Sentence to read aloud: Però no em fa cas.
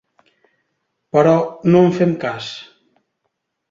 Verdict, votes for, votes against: rejected, 0, 2